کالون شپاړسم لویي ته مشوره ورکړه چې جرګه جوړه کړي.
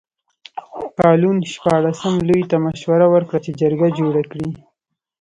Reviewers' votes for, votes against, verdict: 2, 0, accepted